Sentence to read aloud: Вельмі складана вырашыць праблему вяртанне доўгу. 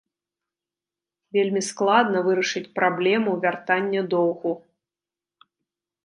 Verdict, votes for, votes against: rejected, 1, 2